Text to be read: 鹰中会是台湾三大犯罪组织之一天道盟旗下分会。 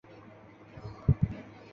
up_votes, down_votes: 0, 2